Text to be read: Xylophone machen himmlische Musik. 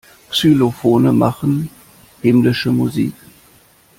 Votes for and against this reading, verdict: 2, 0, accepted